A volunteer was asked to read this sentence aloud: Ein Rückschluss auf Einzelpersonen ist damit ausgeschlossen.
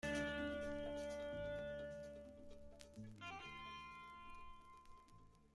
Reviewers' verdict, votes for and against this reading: rejected, 0, 2